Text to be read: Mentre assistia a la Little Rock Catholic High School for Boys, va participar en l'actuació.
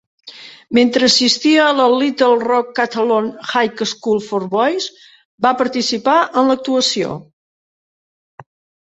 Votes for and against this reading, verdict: 0, 2, rejected